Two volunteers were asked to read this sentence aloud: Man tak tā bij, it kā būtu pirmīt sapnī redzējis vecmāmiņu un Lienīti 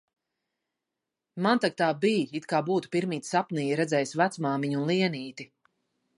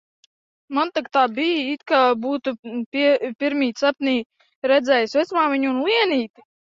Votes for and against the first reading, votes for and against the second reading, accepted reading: 2, 0, 0, 2, first